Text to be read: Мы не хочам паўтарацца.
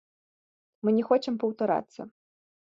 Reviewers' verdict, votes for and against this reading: rejected, 1, 2